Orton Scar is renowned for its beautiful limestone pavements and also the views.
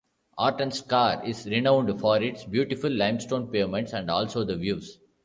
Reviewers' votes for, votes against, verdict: 2, 0, accepted